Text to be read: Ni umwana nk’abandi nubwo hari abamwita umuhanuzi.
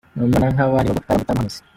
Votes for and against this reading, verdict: 1, 2, rejected